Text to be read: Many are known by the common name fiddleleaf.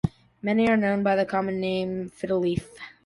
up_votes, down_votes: 2, 1